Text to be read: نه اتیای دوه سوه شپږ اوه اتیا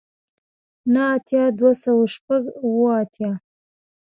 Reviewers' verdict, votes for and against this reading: accepted, 3, 0